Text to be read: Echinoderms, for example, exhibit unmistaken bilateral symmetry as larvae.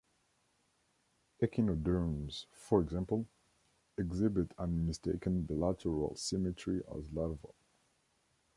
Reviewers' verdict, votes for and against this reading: accepted, 2, 0